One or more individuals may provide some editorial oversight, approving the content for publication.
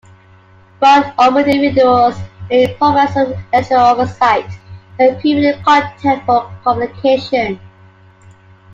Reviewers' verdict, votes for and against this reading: rejected, 0, 2